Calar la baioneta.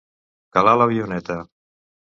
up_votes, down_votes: 1, 2